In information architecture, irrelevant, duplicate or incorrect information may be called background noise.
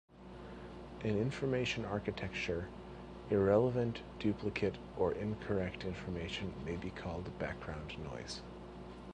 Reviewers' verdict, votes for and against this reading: accepted, 2, 0